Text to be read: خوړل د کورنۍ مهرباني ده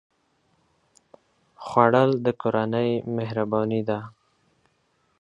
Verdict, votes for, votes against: accepted, 4, 0